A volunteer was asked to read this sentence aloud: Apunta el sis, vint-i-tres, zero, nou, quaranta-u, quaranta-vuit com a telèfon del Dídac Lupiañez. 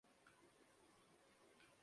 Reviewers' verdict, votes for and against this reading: rejected, 0, 2